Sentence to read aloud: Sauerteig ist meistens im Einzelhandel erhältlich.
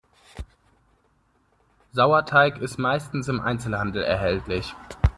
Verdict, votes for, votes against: accepted, 2, 0